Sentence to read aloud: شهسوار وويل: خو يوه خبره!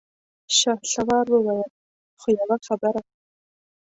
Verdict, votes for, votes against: rejected, 0, 2